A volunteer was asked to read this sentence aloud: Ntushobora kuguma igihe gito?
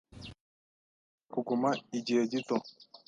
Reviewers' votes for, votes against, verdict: 1, 2, rejected